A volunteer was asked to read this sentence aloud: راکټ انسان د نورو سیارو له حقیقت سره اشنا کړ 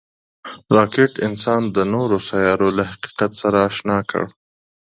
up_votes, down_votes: 2, 0